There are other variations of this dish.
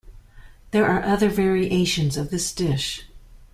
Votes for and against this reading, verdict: 2, 0, accepted